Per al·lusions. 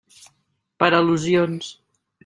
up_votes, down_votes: 3, 0